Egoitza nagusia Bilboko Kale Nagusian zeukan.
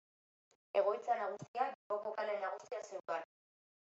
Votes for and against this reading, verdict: 0, 2, rejected